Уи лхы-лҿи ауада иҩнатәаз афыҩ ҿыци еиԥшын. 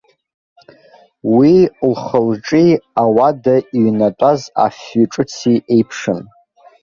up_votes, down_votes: 1, 2